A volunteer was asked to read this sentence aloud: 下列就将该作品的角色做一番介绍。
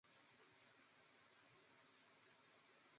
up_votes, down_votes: 0, 2